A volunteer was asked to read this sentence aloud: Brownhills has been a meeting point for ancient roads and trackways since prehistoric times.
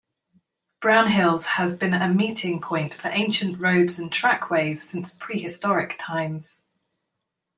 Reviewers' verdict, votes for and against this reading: accepted, 2, 0